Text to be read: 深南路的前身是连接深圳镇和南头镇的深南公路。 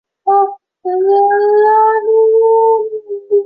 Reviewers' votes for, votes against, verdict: 2, 4, rejected